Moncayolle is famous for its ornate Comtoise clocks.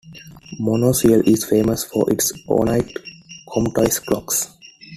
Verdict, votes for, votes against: rejected, 1, 2